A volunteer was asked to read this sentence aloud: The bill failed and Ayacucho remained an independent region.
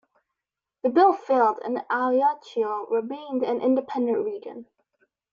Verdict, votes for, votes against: rejected, 1, 3